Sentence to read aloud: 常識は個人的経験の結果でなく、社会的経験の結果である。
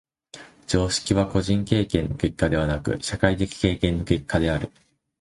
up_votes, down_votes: 2, 4